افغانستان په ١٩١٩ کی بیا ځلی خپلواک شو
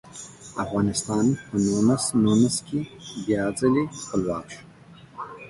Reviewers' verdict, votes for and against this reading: rejected, 0, 2